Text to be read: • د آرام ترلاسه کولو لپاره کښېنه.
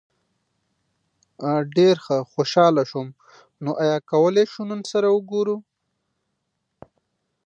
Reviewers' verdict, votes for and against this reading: rejected, 0, 2